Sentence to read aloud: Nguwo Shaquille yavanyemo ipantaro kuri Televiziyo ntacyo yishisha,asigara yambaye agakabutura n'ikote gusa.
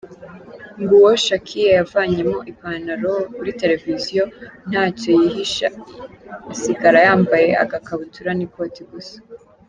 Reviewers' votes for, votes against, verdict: 1, 2, rejected